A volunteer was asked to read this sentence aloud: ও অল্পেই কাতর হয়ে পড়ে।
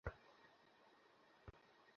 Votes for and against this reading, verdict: 0, 2, rejected